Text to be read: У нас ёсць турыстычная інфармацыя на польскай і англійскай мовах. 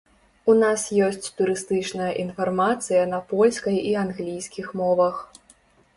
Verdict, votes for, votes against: rejected, 0, 2